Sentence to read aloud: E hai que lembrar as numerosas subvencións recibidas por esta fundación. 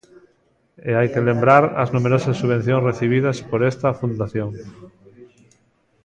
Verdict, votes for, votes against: accepted, 2, 0